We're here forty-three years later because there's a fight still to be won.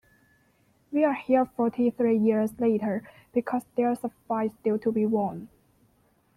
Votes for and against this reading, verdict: 2, 1, accepted